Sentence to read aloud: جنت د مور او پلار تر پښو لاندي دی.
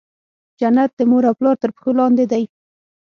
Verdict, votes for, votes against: accepted, 6, 0